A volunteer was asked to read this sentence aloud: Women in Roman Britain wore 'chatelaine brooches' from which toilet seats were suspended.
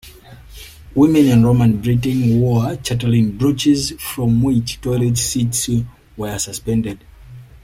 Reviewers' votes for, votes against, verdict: 2, 1, accepted